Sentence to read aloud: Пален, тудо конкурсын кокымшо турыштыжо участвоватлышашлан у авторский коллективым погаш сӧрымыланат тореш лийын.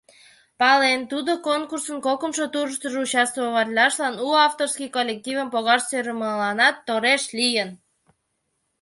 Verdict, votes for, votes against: rejected, 1, 2